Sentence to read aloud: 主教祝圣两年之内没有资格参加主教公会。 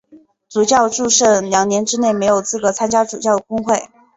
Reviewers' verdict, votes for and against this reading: accepted, 4, 0